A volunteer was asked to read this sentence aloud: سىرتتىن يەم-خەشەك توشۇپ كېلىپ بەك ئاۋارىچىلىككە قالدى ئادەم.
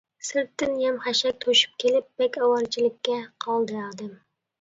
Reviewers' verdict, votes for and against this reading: accepted, 2, 1